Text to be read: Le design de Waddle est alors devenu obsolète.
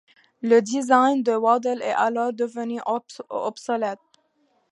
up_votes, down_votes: 2, 1